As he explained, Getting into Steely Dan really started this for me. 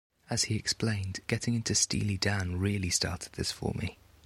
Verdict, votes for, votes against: accepted, 2, 1